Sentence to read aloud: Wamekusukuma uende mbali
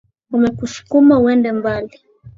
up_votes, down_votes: 2, 0